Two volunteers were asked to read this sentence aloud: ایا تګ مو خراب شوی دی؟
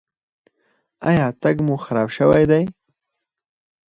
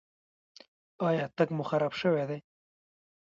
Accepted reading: first